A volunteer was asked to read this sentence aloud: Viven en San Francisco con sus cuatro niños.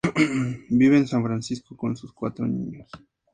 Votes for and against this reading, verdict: 2, 0, accepted